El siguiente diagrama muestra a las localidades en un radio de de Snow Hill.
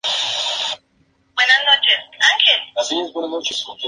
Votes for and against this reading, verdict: 0, 2, rejected